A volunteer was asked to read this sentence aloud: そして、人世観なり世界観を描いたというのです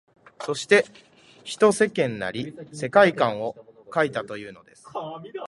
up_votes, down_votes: 0, 2